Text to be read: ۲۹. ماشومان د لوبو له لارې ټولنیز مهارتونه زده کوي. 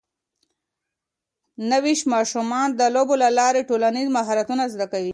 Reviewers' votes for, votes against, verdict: 0, 2, rejected